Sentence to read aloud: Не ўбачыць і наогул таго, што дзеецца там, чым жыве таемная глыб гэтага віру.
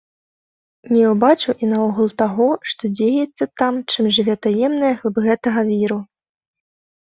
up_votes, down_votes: 0, 2